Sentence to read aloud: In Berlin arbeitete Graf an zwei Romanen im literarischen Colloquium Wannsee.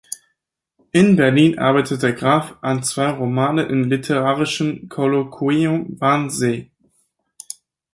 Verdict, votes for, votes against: rejected, 2, 4